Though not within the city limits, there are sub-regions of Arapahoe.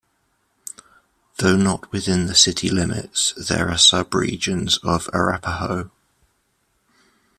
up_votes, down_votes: 2, 0